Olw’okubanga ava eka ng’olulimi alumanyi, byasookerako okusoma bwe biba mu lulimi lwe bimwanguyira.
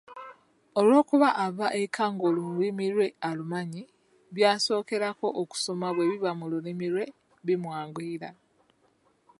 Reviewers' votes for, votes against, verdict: 1, 2, rejected